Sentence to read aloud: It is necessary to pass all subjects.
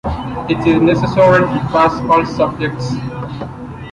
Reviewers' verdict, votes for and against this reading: accepted, 2, 0